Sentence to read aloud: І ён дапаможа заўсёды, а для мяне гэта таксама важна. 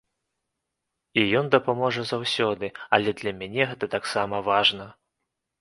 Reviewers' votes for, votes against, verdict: 0, 2, rejected